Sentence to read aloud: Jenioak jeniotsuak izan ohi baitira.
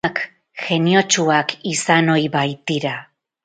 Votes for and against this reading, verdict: 0, 4, rejected